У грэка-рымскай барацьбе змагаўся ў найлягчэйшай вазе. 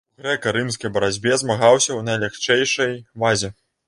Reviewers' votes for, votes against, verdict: 0, 2, rejected